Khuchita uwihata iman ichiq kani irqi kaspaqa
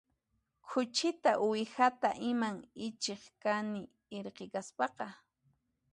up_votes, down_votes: 2, 0